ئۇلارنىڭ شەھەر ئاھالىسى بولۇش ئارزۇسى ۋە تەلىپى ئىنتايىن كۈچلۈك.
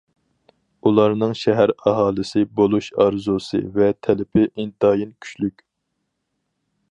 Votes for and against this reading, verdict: 4, 0, accepted